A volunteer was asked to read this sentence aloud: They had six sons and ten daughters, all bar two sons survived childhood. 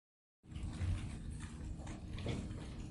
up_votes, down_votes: 0, 2